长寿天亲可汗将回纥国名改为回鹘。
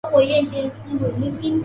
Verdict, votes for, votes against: rejected, 1, 2